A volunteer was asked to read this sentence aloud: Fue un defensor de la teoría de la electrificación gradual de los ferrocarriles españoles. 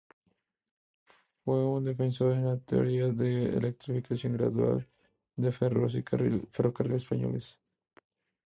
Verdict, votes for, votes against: accepted, 2, 0